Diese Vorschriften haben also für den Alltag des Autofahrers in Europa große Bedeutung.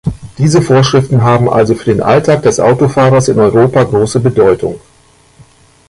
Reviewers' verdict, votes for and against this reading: accepted, 2, 1